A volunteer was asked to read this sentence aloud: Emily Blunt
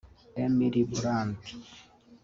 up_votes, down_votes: 1, 3